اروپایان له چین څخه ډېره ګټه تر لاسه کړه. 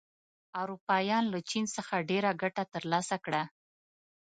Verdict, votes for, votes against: accepted, 2, 0